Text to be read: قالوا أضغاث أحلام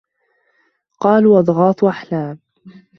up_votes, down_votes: 1, 2